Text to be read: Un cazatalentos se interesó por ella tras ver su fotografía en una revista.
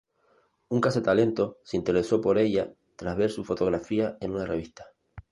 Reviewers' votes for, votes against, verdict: 0, 2, rejected